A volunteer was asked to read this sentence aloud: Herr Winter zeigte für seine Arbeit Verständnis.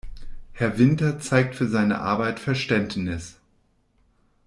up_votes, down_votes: 0, 2